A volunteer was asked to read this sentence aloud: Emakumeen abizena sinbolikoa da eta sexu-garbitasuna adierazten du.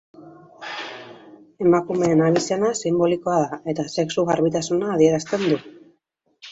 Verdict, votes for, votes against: accepted, 2, 0